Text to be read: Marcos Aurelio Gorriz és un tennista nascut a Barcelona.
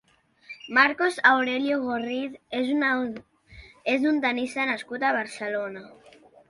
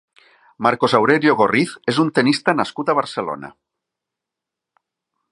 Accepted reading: second